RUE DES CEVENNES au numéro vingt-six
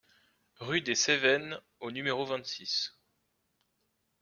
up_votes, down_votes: 2, 0